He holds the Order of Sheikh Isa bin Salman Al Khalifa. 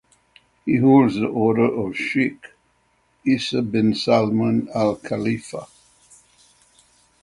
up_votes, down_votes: 6, 0